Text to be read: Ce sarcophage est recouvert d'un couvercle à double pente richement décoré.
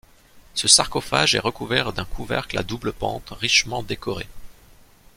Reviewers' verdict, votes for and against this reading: accepted, 2, 0